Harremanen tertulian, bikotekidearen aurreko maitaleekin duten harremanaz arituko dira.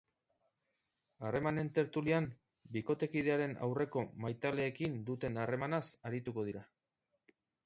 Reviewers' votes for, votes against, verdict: 2, 0, accepted